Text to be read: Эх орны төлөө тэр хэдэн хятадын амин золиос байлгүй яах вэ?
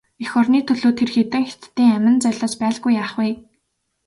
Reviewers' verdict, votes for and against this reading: accepted, 2, 0